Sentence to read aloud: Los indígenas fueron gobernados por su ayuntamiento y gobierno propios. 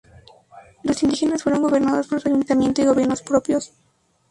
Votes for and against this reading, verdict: 2, 2, rejected